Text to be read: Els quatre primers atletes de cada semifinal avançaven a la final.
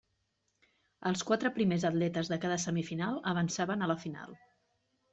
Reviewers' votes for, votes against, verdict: 3, 0, accepted